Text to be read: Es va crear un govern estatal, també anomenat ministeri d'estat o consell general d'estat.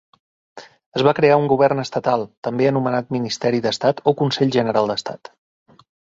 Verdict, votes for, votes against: accepted, 2, 0